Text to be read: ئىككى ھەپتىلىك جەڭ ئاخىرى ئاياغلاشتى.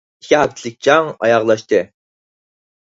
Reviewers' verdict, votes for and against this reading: rejected, 2, 4